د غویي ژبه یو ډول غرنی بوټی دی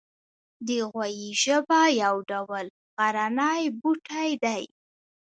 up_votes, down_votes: 1, 2